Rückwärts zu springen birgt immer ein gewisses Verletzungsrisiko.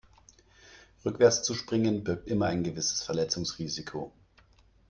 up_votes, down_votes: 2, 0